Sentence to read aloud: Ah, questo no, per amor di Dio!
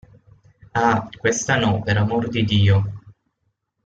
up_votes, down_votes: 0, 6